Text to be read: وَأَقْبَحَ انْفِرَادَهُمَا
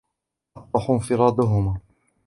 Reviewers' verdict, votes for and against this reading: rejected, 0, 2